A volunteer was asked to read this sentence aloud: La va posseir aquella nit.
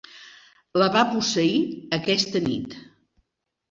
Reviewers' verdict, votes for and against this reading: rejected, 0, 2